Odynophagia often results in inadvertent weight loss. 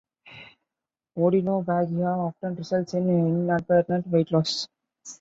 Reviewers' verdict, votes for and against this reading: rejected, 0, 2